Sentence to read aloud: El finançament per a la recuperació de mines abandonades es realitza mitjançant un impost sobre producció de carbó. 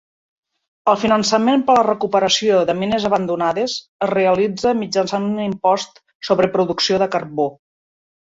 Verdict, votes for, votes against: rejected, 0, 2